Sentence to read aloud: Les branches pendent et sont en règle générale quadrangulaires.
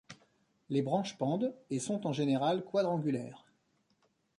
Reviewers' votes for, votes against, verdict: 0, 2, rejected